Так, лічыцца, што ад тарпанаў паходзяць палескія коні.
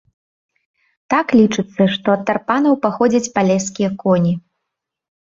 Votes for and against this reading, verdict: 2, 0, accepted